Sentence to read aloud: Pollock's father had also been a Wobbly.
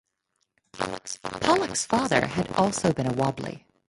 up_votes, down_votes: 0, 4